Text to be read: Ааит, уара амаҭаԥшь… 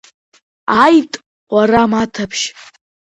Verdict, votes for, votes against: rejected, 1, 2